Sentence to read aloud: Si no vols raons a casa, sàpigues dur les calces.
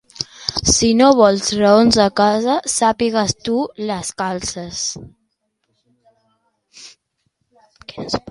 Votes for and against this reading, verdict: 1, 2, rejected